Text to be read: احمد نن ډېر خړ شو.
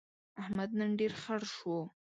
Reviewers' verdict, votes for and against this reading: accepted, 2, 0